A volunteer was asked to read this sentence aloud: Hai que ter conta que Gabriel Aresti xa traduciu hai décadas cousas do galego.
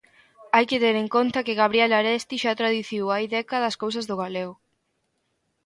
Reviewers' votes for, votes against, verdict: 0, 2, rejected